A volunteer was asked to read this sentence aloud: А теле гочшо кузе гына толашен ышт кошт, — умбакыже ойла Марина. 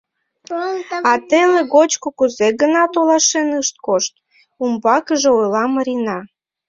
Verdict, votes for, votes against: rejected, 0, 2